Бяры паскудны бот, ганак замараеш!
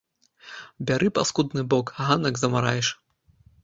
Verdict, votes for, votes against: rejected, 1, 2